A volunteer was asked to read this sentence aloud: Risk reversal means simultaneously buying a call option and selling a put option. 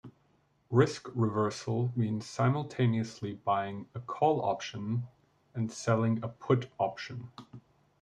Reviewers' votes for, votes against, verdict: 2, 1, accepted